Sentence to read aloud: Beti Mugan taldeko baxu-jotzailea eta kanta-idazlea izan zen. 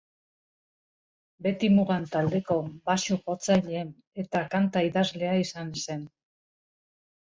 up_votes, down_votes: 2, 1